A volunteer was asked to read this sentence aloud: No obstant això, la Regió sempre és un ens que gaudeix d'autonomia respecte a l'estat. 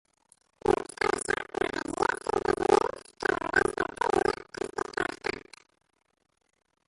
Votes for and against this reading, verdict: 0, 3, rejected